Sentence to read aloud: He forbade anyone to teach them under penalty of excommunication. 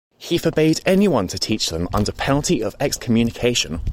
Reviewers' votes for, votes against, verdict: 2, 0, accepted